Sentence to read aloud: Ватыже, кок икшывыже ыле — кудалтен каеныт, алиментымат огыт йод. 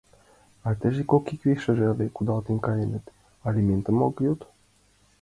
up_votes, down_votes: 0, 2